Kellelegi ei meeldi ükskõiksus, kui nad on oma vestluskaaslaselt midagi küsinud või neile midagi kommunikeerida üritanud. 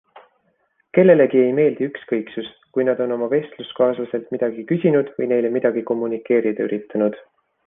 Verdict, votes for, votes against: accepted, 3, 0